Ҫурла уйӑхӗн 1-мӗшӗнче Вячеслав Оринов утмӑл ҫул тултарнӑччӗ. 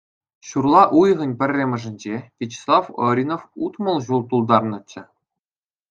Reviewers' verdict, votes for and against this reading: rejected, 0, 2